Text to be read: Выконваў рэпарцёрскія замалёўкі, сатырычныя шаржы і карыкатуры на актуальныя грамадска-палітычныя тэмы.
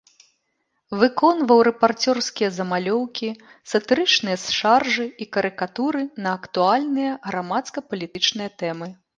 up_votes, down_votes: 0, 2